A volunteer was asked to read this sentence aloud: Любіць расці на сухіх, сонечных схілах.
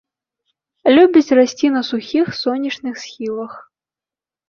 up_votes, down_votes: 2, 0